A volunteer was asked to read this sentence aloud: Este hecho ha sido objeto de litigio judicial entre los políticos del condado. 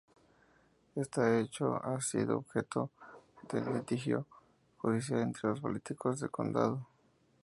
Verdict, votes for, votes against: accepted, 2, 0